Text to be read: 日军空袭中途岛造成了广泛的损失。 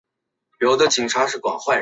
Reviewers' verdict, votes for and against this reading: rejected, 1, 3